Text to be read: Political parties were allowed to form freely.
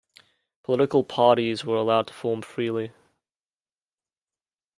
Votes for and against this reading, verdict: 0, 2, rejected